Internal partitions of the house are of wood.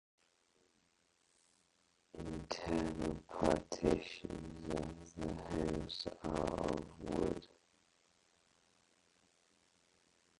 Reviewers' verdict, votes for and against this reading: rejected, 0, 4